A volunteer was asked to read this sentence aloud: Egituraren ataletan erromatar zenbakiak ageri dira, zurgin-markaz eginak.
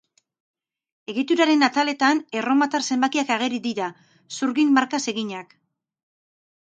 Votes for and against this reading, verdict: 4, 0, accepted